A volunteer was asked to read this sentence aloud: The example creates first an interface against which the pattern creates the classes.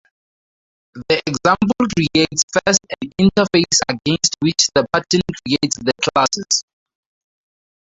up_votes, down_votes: 2, 0